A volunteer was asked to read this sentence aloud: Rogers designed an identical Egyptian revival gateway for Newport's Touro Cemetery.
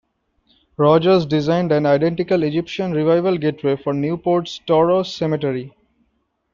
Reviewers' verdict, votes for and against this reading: accepted, 2, 1